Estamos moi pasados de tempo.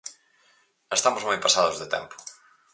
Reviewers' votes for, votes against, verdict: 4, 0, accepted